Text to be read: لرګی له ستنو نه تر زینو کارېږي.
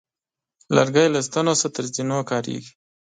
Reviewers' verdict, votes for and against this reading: rejected, 1, 2